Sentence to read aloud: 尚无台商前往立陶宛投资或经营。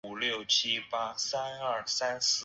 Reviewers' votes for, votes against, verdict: 1, 4, rejected